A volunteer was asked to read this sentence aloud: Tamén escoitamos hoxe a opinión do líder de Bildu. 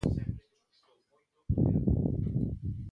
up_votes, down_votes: 0, 2